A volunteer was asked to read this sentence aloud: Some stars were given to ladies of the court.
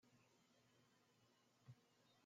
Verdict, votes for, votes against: rejected, 0, 2